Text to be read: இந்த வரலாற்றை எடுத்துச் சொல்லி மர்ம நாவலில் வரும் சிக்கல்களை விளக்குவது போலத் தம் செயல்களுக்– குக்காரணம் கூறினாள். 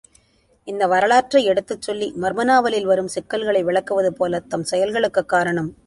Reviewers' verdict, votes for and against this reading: rejected, 0, 2